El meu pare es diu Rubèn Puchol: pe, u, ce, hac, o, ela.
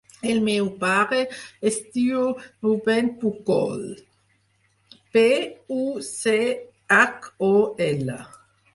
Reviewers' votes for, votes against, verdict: 0, 4, rejected